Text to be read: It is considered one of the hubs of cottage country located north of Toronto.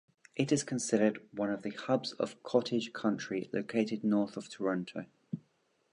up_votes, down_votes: 2, 0